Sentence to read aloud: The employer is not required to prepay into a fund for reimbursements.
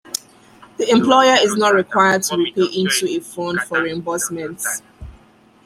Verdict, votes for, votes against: rejected, 1, 2